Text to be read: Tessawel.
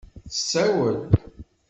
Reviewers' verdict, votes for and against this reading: accepted, 2, 0